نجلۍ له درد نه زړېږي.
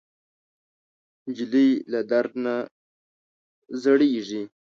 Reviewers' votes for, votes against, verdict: 2, 0, accepted